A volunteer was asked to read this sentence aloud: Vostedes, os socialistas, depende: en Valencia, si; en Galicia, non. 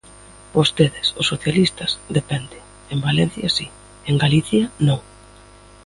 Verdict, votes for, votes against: rejected, 1, 2